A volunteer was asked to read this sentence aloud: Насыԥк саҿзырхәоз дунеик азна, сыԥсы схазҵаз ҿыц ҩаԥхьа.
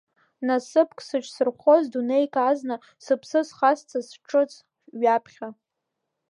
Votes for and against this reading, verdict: 2, 1, accepted